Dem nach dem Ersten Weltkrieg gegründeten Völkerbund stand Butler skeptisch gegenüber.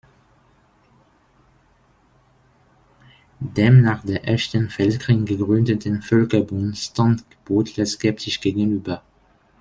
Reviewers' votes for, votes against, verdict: 1, 2, rejected